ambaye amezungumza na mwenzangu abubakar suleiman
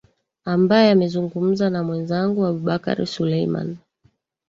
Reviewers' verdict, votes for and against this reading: rejected, 0, 2